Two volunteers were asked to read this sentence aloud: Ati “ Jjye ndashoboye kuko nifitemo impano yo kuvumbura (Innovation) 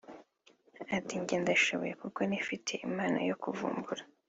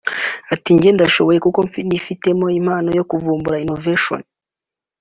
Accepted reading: second